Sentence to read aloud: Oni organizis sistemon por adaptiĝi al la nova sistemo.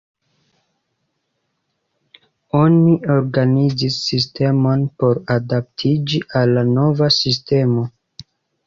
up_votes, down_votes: 2, 0